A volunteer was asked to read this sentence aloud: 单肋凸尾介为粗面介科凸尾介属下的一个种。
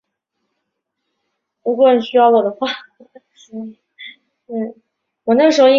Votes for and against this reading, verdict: 0, 2, rejected